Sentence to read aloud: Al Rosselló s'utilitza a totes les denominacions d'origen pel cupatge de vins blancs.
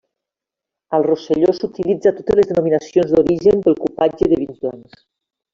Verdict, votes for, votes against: rejected, 1, 2